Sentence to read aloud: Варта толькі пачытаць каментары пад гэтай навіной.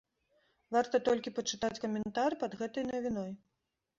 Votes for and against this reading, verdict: 1, 2, rejected